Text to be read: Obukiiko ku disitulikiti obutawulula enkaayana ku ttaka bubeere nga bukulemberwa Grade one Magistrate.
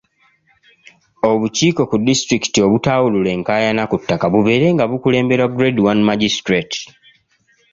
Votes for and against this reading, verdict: 2, 0, accepted